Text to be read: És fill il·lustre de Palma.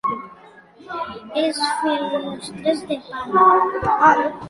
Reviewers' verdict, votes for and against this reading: rejected, 1, 2